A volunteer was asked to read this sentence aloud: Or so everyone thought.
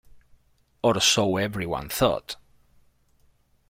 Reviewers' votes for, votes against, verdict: 1, 2, rejected